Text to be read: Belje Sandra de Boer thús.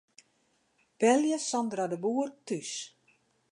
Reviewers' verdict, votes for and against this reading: accepted, 2, 0